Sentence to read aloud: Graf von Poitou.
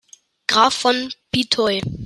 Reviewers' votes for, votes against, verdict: 1, 2, rejected